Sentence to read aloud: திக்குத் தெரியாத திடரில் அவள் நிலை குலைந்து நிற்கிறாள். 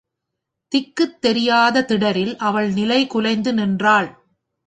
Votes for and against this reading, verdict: 1, 2, rejected